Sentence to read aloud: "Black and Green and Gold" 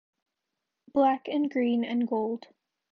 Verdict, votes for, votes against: accepted, 2, 0